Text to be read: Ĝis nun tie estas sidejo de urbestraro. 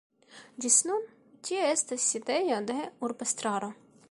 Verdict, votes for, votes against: rejected, 1, 2